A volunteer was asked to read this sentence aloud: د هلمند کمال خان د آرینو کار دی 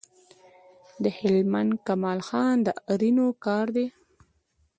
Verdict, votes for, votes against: accepted, 2, 0